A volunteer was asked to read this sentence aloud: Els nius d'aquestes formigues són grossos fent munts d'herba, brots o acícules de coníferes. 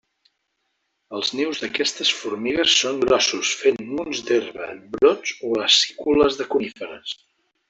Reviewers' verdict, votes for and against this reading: accepted, 2, 0